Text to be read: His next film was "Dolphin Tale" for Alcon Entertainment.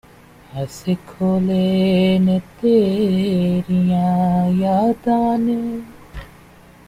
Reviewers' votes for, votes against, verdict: 0, 2, rejected